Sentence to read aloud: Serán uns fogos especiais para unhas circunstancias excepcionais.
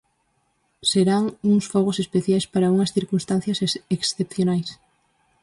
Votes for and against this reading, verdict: 2, 4, rejected